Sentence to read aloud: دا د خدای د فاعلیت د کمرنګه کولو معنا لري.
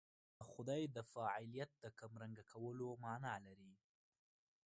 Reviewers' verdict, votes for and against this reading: rejected, 1, 2